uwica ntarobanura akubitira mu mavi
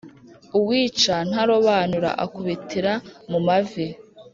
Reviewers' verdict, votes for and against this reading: accepted, 2, 0